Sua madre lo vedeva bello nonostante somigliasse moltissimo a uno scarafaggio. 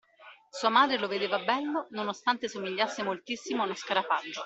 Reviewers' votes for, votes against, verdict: 2, 0, accepted